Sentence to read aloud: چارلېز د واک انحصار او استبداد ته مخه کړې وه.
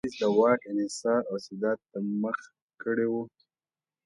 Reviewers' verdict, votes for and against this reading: accepted, 2, 0